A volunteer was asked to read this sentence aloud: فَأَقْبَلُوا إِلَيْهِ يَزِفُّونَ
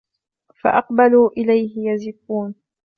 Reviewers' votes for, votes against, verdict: 2, 0, accepted